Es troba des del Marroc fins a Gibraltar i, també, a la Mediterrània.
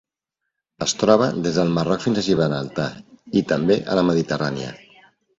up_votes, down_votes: 0, 2